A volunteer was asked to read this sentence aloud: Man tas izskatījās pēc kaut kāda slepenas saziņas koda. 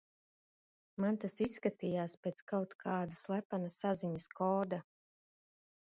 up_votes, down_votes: 0, 2